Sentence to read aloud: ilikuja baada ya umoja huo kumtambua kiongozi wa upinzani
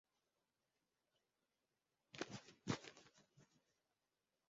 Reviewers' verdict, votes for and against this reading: rejected, 0, 2